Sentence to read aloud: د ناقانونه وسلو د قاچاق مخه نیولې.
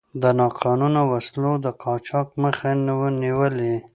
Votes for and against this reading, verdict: 2, 0, accepted